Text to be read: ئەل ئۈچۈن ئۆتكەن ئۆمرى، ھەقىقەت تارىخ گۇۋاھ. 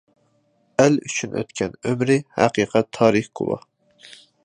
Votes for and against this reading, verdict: 2, 0, accepted